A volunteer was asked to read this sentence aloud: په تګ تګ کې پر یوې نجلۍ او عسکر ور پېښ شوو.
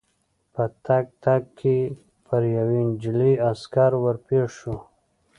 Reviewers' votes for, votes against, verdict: 2, 0, accepted